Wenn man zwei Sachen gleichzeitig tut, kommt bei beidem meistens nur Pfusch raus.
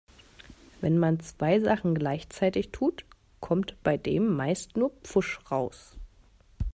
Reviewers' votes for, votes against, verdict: 0, 2, rejected